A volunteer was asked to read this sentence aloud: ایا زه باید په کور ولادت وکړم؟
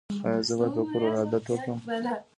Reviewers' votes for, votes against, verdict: 2, 1, accepted